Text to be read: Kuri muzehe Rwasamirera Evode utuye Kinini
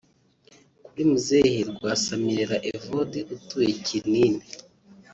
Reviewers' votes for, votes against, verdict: 1, 2, rejected